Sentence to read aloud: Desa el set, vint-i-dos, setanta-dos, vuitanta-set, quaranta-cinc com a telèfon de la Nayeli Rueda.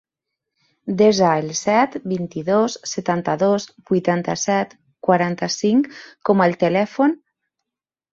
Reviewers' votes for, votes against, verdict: 1, 3, rejected